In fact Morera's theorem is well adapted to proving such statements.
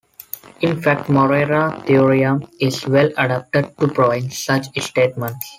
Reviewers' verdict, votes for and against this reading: rejected, 0, 2